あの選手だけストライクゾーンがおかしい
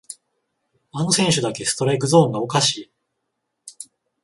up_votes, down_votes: 14, 7